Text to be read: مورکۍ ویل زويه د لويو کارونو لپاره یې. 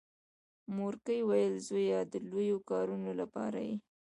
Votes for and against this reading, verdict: 2, 1, accepted